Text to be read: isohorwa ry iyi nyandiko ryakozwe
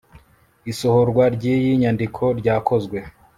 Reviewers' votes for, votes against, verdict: 2, 0, accepted